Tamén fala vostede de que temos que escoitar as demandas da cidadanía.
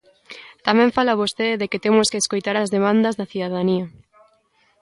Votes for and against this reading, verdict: 2, 0, accepted